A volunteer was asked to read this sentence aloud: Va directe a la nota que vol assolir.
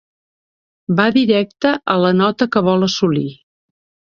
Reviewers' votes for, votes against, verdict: 3, 0, accepted